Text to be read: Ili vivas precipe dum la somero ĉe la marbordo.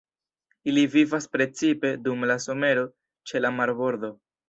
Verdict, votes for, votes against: rejected, 1, 2